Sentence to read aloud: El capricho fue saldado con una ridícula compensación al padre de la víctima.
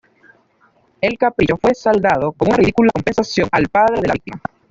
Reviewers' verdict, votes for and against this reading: accepted, 2, 0